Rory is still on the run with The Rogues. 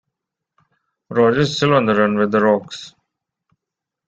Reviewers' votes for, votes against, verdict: 2, 0, accepted